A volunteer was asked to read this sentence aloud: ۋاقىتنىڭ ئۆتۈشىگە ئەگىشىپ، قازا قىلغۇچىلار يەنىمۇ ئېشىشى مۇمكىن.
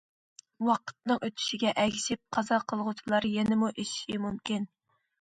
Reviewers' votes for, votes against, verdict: 2, 0, accepted